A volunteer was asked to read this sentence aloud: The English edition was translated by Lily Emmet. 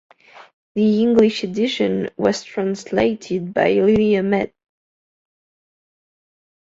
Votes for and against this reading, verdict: 1, 2, rejected